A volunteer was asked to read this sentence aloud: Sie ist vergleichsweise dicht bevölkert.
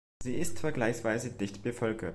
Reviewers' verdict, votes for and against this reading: accepted, 2, 0